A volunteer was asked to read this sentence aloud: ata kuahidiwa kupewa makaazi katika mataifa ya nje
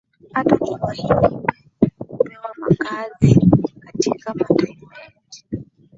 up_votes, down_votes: 0, 2